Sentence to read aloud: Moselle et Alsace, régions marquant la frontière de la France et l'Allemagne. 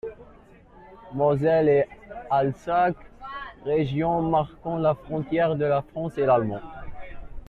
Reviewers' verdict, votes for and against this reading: rejected, 0, 2